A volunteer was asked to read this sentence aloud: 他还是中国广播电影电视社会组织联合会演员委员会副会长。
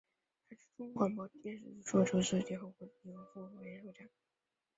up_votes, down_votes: 0, 2